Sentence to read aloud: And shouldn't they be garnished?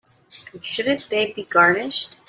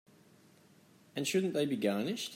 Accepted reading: second